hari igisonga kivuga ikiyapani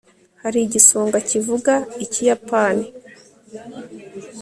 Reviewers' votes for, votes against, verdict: 2, 0, accepted